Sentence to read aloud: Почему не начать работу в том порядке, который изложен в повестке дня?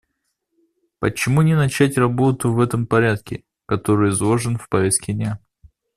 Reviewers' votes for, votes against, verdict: 0, 2, rejected